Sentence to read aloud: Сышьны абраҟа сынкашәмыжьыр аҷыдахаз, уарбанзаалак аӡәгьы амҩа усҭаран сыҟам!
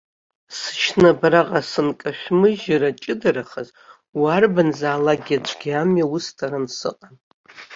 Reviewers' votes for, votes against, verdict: 1, 2, rejected